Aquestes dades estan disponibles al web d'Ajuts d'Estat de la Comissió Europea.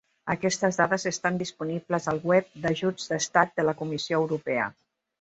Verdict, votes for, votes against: accepted, 2, 0